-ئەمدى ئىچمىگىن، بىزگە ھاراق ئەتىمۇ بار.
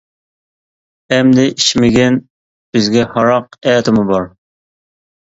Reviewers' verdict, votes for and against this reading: accepted, 2, 0